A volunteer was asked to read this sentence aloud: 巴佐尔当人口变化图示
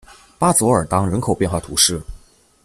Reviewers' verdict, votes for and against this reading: accepted, 2, 0